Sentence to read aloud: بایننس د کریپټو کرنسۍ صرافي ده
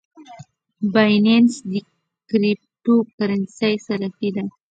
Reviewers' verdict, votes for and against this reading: rejected, 1, 2